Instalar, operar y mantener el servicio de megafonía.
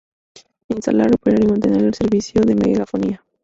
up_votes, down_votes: 0, 2